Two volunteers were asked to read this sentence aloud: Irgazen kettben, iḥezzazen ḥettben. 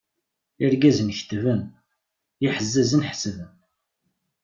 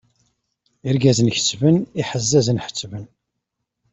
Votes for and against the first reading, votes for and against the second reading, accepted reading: 1, 2, 2, 0, second